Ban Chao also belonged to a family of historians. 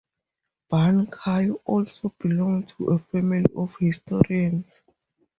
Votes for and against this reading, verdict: 4, 0, accepted